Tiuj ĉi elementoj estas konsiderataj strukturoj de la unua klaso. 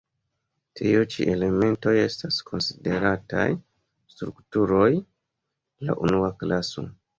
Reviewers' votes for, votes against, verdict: 1, 2, rejected